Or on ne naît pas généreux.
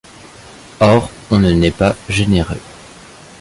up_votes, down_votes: 2, 1